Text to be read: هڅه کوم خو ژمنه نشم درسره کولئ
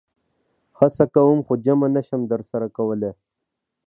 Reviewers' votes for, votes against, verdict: 1, 2, rejected